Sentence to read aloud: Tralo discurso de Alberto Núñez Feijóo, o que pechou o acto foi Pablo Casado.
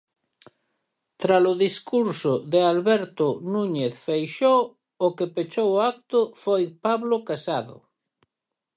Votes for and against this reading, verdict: 0, 4, rejected